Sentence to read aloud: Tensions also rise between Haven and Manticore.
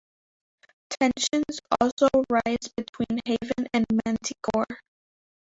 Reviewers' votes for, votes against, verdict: 1, 2, rejected